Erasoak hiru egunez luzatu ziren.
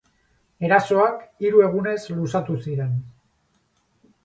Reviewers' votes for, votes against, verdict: 0, 2, rejected